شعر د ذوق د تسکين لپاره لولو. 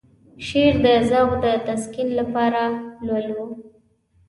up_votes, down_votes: 2, 0